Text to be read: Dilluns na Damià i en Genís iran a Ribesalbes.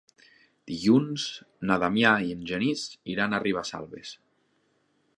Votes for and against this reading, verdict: 3, 0, accepted